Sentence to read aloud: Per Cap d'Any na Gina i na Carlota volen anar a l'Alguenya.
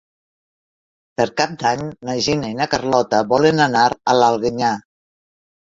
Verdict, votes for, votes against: rejected, 1, 2